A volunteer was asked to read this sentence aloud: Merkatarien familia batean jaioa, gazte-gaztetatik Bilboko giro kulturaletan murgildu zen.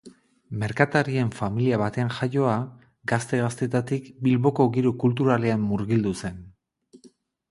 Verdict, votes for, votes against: rejected, 0, 2